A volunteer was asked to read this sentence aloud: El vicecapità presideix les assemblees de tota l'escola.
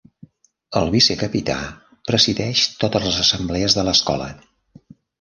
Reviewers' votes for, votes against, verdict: 0, 2, rejected